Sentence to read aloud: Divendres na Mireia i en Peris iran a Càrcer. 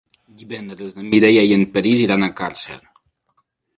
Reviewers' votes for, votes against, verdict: 5, 2, accepted